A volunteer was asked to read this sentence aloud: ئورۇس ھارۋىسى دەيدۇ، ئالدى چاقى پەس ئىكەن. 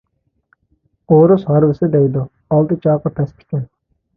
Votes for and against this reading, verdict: 0, 2, rejected